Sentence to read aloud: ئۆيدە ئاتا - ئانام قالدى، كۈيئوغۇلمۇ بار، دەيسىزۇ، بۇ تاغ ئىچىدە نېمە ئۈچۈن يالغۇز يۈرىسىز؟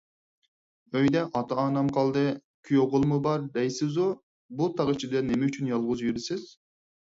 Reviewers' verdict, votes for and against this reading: accepted, 4, 0